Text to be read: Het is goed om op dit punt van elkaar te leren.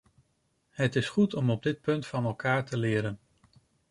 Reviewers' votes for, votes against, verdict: 2, 0, accepted